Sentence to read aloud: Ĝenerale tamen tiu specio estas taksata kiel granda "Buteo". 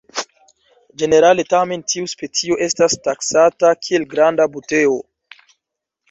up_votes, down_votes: 2, 0